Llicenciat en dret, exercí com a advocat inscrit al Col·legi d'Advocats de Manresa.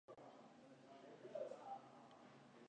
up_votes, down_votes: 0, 2